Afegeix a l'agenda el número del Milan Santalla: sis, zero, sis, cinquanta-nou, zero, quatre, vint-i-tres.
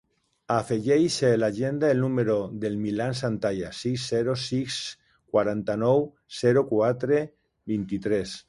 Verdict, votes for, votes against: accepted, 2, 0